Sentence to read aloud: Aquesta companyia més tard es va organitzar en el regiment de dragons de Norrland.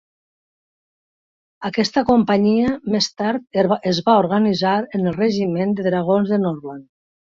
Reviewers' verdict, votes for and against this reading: rejected, 0, 2